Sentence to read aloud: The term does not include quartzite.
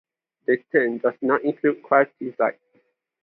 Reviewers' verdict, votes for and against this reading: rejected, 0, 2